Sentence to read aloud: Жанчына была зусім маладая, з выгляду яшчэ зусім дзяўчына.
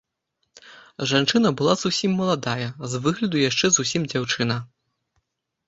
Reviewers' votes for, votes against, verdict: 2, 0, accepted